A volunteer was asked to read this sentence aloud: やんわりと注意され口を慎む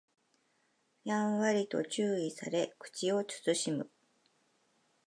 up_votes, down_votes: 2, 0